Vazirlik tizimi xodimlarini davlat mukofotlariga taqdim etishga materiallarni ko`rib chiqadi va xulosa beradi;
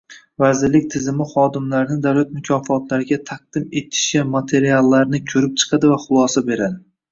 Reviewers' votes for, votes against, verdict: 1, 2, rejected